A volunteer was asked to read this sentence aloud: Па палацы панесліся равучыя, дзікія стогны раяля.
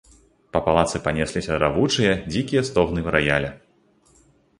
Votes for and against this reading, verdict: 2, 0, accepted